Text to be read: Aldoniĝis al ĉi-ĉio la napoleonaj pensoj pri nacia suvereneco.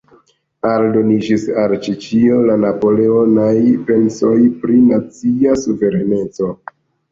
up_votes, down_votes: 3, 2